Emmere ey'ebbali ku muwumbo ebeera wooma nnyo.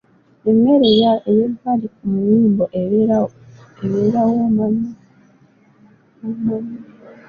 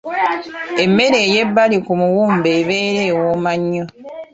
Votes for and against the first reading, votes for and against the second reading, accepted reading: 1, 2, 3, 0, second